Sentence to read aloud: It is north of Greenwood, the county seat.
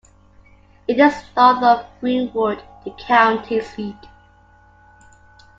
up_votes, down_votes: 2, 0